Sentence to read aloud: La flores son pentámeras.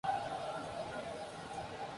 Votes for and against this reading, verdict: 0, 2, rejected